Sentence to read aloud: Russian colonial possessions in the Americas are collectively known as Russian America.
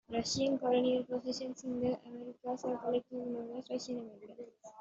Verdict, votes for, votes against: rejected, 1, 2